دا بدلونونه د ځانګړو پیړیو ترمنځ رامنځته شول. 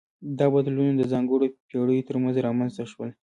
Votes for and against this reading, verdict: 2, 1, accepted